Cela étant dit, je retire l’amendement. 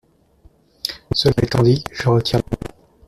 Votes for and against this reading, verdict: 0, 2, rejected